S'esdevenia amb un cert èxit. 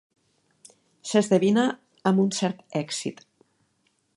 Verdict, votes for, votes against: rejected, 0, 2